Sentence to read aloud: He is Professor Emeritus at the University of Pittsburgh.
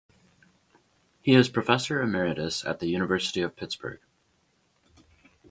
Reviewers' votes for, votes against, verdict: 2, 0, accepted